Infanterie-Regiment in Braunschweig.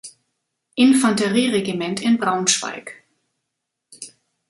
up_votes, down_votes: 2, 0